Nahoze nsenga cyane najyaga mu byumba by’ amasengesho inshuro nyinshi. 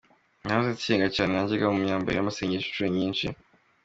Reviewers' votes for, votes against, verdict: 2, 1, accepted